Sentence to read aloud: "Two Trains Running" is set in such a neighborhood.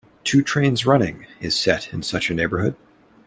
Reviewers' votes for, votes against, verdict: 2, 0, accepted